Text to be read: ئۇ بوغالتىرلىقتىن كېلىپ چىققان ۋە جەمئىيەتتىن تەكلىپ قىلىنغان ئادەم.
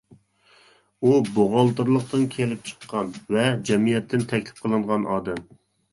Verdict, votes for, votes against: accepted, 2, 0